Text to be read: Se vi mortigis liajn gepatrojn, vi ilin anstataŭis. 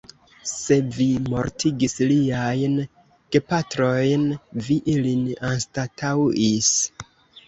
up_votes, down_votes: 3, 0